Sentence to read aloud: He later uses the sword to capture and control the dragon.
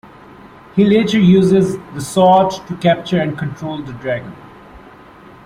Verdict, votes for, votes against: accepted, 2, 0